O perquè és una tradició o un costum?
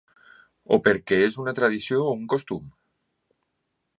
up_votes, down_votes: 3, 0